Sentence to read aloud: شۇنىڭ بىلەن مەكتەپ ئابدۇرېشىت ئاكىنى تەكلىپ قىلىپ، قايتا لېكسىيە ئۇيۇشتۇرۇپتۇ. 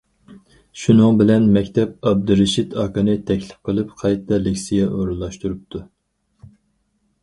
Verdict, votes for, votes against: rejected, 0, 4